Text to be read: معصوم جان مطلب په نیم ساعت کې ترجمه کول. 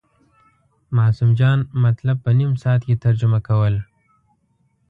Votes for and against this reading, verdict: 2, 0, accepted